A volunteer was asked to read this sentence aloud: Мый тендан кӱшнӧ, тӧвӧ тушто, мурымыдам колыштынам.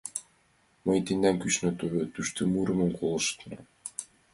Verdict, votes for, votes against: accepted, 2, 0